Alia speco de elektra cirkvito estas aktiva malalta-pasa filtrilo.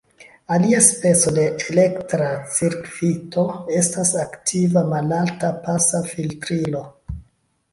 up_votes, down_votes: 2, 1